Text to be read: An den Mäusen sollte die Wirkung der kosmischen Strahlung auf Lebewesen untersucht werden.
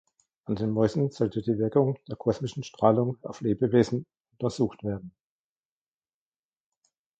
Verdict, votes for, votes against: rejected, 0, 2